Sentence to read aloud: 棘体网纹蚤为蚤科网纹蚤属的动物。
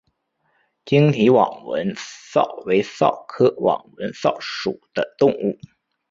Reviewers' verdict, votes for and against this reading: accepted, 6, 0